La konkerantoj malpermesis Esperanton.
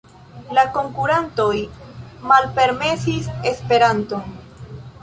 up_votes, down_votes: 1, 2